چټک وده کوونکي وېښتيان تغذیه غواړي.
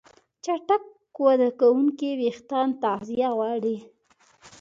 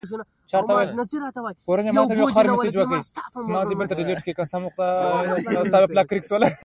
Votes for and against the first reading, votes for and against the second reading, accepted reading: 2, 0, 0, 2, first